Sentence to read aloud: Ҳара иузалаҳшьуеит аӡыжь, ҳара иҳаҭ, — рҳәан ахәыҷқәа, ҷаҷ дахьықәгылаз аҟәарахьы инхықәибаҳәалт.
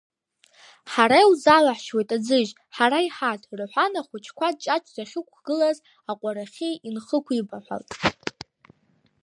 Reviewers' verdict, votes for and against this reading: rejected, 0, 2